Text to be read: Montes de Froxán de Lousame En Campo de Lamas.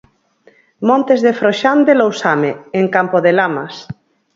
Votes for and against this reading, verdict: 4, 2, accepted